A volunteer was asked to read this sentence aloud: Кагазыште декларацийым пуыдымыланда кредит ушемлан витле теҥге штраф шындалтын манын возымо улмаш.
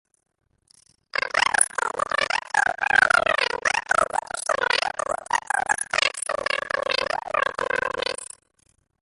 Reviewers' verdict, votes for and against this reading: rejected, 0, 2